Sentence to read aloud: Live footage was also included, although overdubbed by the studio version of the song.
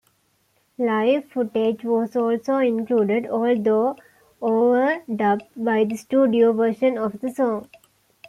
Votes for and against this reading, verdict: 2, 0, accepted